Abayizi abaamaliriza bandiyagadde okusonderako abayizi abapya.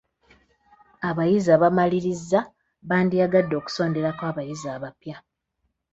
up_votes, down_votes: 1, 2